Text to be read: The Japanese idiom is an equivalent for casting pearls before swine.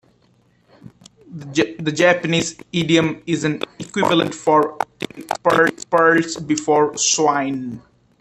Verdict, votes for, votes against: rejected, 0, 2